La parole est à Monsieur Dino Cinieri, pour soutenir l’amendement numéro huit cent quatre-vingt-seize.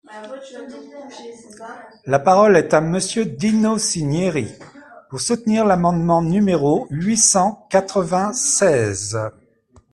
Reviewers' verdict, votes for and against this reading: accepted, 2, 0